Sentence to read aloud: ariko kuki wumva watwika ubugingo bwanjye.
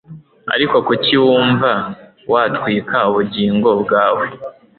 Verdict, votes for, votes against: rejected, 0, 2